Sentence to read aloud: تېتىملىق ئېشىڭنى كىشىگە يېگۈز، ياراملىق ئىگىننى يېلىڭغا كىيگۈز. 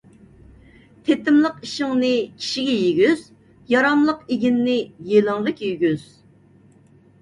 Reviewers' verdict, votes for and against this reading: rejected, 1, 2